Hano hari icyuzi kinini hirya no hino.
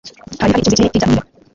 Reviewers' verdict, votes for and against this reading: rejected, 1, 2